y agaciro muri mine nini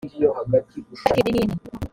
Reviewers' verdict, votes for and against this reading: rejected, 1, 2